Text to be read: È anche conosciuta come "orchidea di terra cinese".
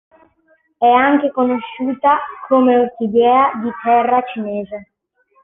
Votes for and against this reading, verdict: 2, 0, accepted